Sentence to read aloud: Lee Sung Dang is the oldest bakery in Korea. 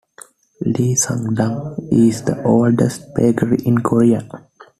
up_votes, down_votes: 2, 0